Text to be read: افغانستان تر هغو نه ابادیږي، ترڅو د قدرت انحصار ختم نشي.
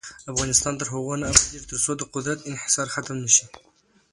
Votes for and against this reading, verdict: 2, 0, accepted